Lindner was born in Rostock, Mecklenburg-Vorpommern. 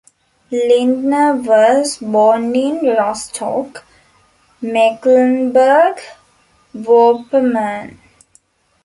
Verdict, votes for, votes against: rejected, 1, 2